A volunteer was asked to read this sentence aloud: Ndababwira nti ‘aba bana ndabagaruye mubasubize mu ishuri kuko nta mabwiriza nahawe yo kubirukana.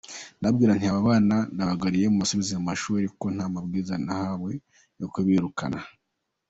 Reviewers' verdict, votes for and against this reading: accepted, 2, 1